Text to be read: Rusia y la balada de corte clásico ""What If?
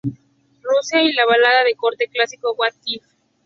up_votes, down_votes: 0, 2